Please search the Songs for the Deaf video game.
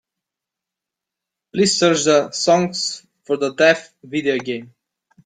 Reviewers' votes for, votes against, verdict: 2, 0, accepted